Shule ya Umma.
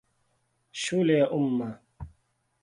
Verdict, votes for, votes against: accepted, 2, 0